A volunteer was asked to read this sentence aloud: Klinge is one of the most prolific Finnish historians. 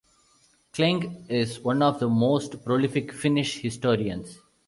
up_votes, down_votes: 2, 0